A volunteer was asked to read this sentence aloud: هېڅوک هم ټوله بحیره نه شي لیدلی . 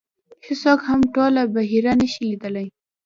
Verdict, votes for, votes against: accepted, 2, 1